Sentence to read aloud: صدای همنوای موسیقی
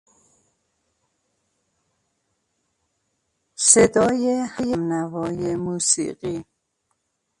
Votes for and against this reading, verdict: 1, 2, rejected